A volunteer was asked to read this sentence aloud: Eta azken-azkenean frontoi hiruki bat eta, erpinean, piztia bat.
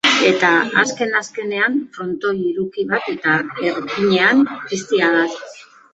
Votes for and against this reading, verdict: 1, 2, rejected